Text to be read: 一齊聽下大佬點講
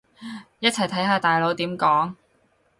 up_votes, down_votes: 0, 4